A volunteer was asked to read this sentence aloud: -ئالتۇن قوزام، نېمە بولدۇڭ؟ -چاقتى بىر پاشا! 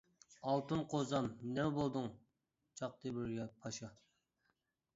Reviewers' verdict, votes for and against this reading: rejected, 0, 2